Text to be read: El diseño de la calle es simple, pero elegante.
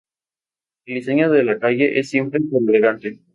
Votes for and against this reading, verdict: 0, 4, rejected